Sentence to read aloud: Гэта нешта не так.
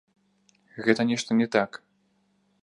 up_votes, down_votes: 1, 2